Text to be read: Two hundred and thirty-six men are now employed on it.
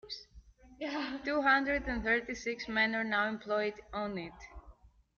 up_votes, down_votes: 1, 2